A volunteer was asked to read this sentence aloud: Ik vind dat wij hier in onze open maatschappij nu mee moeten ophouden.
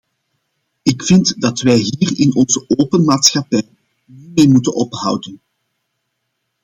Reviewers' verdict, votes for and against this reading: rejected, 1, 2